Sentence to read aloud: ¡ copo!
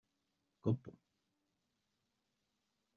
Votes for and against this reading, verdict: 1, 2, rejected